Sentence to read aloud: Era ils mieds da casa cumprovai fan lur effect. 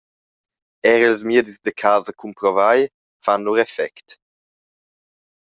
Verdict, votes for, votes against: rejected, 0, 2